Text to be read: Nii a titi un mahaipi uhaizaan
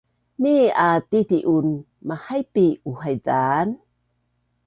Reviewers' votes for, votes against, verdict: 2, 0, accepted